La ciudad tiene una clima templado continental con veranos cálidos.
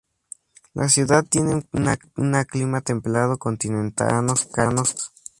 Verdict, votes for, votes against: rejected, 0, 2